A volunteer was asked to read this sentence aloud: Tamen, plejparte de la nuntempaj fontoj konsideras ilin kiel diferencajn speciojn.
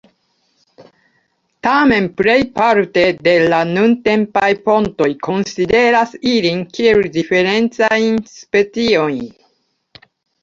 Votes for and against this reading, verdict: 2, 0, accepted